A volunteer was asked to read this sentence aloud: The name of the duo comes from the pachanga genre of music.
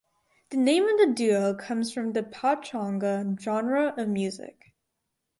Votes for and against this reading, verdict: 4, 0, accepted